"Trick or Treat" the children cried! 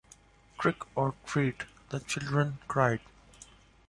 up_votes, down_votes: 2, 0